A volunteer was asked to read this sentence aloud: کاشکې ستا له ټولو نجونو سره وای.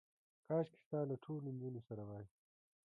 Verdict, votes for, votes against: accepted, 2, 0